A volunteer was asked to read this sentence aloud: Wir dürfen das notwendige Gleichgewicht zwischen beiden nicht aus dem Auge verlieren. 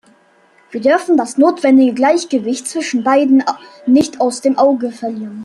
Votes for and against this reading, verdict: 2, 0, accepted